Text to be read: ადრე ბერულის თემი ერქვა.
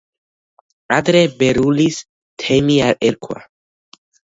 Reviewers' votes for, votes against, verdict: 3, 0, accepted